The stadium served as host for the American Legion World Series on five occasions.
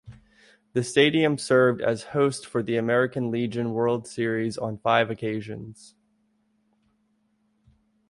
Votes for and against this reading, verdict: 2, 0, accepted